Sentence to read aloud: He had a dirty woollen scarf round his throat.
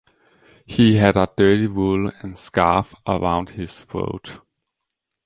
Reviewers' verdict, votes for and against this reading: rejected, 1, 2